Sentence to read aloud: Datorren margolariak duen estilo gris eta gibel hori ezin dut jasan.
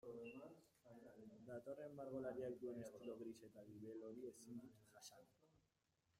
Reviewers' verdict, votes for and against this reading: rejected, 1, 2